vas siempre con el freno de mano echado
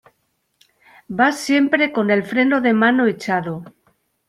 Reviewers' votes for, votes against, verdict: 2, 0, accepted